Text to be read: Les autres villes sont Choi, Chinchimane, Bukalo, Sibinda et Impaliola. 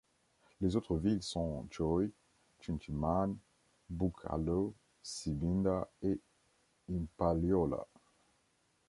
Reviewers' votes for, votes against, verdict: 2, 0, accepted